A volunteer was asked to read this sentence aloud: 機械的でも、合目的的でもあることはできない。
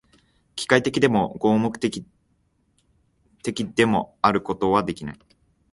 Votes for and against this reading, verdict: 1, 2, rejected